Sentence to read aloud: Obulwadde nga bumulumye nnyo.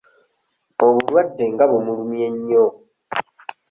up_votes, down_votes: 2, 1